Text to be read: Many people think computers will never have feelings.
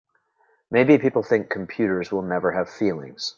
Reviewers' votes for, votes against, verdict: 1, 2, rejected